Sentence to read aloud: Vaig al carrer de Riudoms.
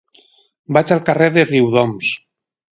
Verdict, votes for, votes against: rejected, 2, 2